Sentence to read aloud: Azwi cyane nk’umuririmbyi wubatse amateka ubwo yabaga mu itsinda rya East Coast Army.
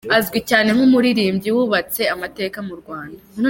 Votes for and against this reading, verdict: 1, 2, rejected